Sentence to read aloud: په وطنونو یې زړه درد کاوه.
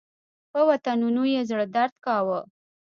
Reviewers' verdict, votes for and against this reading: accepted, 2, 1